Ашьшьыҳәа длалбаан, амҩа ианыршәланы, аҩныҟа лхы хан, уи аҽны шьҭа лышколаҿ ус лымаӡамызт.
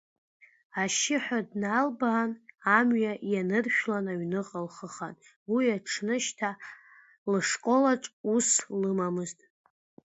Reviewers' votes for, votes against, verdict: 1, 2, rejected